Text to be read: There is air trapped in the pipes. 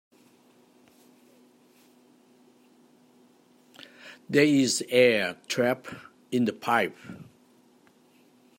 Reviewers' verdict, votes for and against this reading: rejected, 0, 2